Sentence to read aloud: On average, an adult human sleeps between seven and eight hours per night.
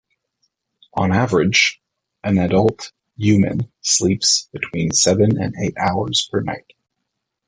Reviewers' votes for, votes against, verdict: 2, 0, accepted